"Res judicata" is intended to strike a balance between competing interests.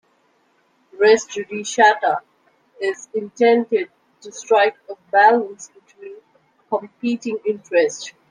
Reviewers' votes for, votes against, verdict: 2, 1, accepted